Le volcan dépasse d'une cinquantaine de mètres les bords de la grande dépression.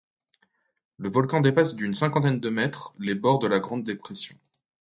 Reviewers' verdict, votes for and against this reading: accepted, 2, 0